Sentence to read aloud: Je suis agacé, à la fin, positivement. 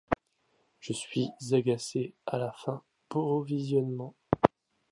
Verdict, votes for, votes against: rejected, 0, 2